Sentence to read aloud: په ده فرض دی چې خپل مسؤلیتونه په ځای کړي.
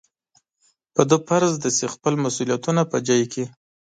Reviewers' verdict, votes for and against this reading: rejected, 1, 2